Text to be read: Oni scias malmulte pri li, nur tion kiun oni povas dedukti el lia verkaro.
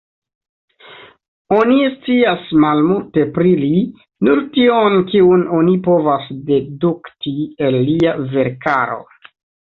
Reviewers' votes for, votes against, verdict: 2, 0, accepted